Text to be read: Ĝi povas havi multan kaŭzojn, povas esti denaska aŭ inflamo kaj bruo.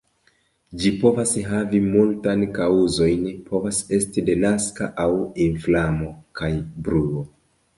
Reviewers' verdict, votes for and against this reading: accepted, 2, 0